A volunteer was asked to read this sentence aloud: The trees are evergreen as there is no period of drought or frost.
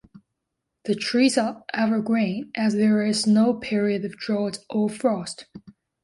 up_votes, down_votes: 2, 0